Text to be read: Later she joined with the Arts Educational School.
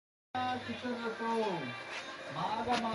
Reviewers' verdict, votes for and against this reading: rejected, 0, 2